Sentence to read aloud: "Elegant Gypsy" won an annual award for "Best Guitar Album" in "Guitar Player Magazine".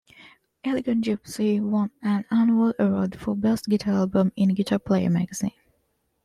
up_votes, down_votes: 2, 1